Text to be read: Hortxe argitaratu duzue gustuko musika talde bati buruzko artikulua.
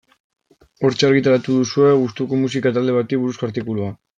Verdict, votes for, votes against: accepted, 2, 1